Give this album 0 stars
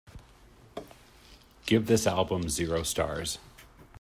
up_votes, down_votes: 0, 2